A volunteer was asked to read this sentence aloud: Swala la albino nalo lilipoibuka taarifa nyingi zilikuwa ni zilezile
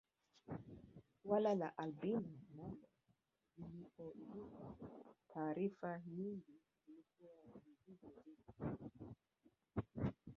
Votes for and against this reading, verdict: 0, 2, rejected